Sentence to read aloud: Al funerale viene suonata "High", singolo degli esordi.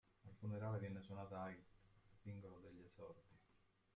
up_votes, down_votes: 1, 3